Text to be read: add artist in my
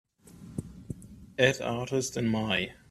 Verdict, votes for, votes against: accepted, 3, 0